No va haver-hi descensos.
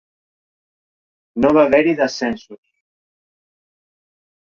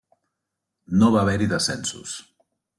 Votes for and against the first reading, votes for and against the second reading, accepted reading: 0, 2, 3, 0, second